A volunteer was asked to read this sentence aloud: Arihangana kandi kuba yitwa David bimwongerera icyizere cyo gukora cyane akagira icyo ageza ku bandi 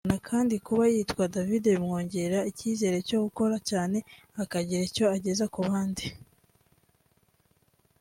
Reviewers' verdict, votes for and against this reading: accepted, 2, 0